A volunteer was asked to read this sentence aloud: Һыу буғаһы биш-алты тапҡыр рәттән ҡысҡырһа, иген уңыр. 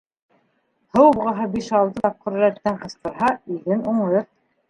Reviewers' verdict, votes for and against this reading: rejected, 0, 2